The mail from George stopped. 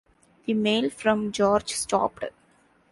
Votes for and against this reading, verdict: 2, 0, accepted